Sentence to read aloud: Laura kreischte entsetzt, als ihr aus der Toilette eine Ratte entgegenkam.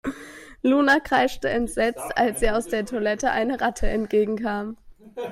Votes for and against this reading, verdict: 0, 2, rejected